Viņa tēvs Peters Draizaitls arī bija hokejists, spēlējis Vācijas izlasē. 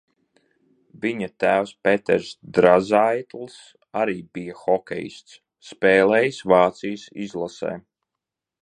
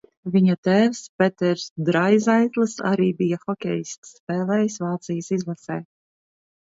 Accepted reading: second